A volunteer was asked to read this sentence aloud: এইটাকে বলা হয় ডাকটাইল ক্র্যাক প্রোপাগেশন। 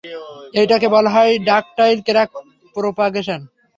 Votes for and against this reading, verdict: 3, 0, accepted